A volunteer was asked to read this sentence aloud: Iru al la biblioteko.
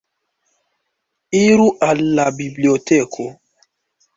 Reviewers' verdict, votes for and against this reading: accepted, 2, 1